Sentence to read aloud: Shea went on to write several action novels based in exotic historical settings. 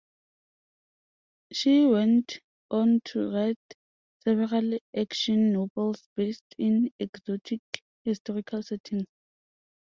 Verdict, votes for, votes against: rejected, 0, 5